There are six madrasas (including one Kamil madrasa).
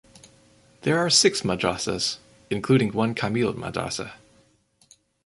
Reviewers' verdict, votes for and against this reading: rejected, 0, 2